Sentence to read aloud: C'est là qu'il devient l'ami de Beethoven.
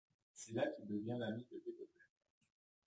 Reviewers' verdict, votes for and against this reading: rejected, 1, 2